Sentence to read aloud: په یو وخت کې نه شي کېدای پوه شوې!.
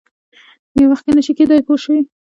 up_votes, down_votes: 2, 0